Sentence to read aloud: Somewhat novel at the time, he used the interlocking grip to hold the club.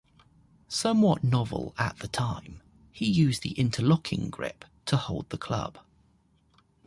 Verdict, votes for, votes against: accepted, 2, 0